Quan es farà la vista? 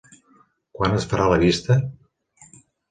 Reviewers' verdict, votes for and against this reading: accepted, 3, 0